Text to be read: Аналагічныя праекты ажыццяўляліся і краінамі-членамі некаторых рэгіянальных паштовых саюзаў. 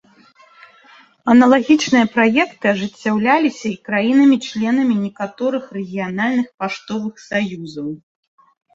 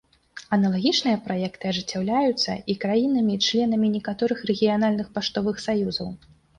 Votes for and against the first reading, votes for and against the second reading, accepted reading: 2, 0, 0, 2, first